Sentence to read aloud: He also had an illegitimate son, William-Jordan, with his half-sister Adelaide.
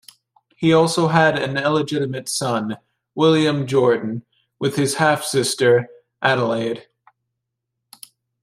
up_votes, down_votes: 2, 1